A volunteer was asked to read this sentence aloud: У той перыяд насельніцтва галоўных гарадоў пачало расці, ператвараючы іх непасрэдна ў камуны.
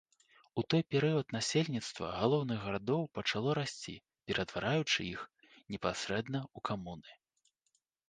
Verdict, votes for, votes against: accepted, 2, 0